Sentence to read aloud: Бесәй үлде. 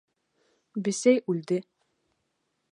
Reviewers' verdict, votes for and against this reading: accepted, 2, 0